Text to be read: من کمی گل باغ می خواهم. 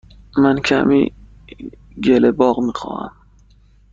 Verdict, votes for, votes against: rejected, 0, 2